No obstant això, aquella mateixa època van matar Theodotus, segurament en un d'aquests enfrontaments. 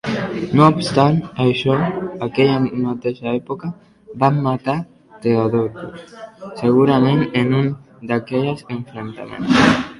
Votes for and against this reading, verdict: 1, 2, rejected